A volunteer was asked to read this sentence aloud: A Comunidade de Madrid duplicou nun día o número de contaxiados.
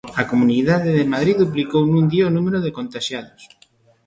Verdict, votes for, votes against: accepted, 2, 0